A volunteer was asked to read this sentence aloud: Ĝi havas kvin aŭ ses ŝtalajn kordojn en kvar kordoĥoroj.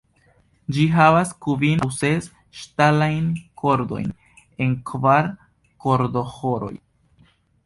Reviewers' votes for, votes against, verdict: 1, 2, rejected